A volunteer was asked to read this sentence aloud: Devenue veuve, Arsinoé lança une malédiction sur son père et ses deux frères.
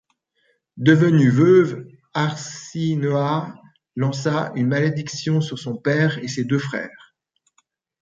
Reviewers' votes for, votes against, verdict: 0, 2, rejected